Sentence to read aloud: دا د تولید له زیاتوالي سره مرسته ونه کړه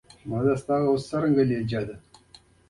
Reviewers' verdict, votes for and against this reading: accepted, 2, 0